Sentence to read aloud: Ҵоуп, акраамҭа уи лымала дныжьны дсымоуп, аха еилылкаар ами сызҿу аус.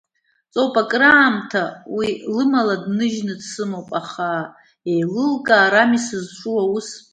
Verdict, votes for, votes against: rejected, 1, 2